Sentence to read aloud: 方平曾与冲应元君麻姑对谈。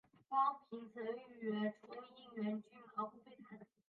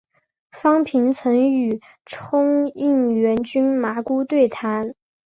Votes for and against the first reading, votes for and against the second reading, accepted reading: 0, 3, 2, 0, second